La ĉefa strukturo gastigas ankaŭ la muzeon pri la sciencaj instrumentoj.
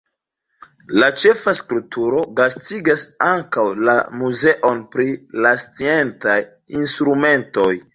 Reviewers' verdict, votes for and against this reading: rejected, 1, 2